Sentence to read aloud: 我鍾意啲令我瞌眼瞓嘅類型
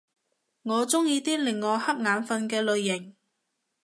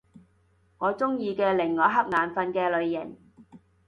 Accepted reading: first